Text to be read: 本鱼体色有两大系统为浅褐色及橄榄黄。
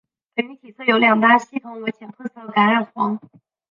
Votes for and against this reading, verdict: 0, 3, rejected